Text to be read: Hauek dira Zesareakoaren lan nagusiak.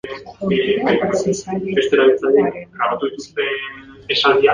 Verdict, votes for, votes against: rejected, 0, 2